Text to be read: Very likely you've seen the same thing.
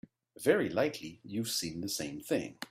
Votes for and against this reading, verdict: 6, 1, accepted